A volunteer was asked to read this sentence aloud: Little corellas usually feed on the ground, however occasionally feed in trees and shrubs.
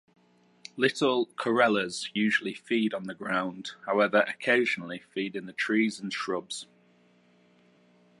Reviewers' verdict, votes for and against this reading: rejected, 0, 2